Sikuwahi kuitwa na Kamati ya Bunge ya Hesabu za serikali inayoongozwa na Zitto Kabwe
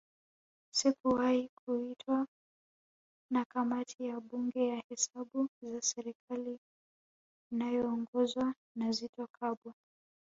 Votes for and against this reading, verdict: 2, 0, accepted